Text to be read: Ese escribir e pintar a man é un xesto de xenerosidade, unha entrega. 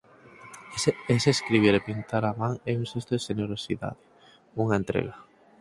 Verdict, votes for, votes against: rejected, 2, 4